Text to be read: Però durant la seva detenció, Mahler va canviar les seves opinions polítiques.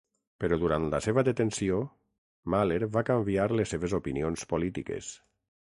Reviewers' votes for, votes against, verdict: 6, 0, accepted